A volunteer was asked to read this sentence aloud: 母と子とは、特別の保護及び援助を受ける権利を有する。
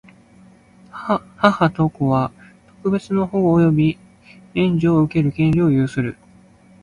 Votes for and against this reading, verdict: 0, 2, rejected